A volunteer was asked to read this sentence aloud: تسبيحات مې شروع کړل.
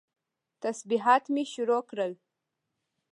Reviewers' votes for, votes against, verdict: 2, 0, accepted